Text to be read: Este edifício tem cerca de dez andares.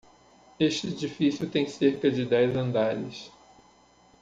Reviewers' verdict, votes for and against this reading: accepted, 2, 0